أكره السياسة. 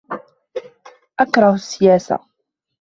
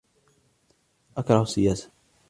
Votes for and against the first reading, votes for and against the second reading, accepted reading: 0, 2, 2, 0, second